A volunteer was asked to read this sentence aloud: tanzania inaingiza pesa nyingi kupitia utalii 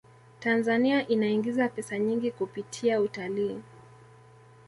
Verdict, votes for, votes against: accepted, 2, 0